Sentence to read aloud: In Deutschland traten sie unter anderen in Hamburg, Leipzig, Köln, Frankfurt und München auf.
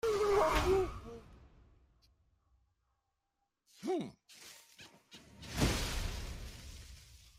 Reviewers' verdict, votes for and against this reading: rejected, 0, 2